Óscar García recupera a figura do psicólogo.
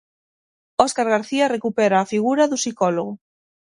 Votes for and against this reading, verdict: 6, 0, accepted